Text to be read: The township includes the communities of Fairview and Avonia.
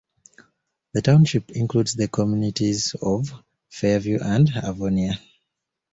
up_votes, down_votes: 2, 0